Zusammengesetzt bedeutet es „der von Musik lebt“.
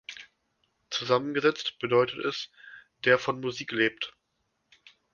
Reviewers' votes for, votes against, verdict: 2, 0, accepted